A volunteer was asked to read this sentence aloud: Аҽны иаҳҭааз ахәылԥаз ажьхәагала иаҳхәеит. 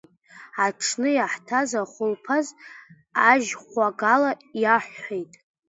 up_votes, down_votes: 0, 2